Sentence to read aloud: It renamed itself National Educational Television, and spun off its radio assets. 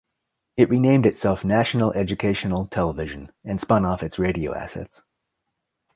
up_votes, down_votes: 2, 1